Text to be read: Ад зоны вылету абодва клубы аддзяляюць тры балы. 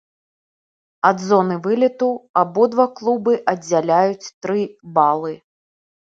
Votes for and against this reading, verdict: 2, 0, accepted